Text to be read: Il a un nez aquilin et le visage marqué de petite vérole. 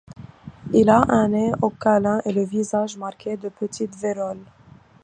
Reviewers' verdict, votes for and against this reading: rejected, 0, 2